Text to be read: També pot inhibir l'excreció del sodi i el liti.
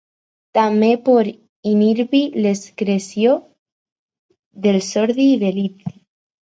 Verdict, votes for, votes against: rejected, 0, 4